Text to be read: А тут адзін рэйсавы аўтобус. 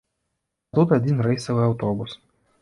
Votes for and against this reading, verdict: 1, 2, rejected